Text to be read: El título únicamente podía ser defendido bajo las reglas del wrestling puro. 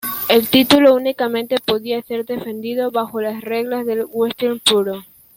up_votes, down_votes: 1, 2